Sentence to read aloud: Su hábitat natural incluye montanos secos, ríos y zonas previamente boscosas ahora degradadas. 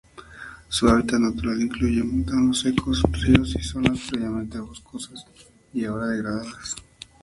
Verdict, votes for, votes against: rejected, 0, 2